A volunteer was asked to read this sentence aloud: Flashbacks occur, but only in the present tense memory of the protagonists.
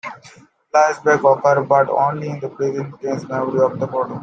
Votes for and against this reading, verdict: 0, 2, rejected